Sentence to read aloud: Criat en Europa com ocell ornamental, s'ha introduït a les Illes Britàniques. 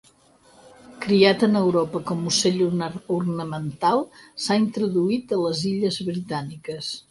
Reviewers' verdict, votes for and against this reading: rejected, 2, 4